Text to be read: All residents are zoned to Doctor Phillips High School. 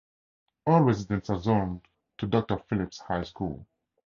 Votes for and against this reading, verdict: 2, 0, accepted